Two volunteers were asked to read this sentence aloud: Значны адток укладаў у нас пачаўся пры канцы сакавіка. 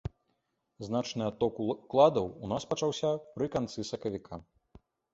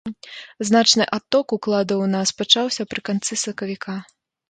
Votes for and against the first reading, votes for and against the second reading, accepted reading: 0, 2, 3, 0, second